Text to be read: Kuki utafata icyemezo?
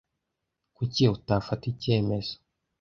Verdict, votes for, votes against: accepted, 2, 0